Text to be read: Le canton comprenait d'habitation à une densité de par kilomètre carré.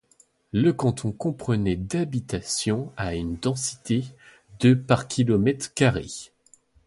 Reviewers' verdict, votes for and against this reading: accepted, 2, 0